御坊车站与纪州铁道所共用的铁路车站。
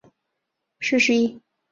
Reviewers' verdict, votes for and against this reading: rejected, 2, 4